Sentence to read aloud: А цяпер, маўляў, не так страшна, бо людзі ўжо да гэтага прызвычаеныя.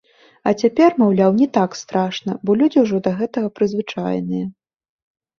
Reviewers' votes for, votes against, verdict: 1, 2, rejected